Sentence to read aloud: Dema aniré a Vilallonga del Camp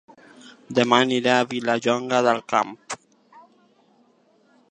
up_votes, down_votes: 1, 2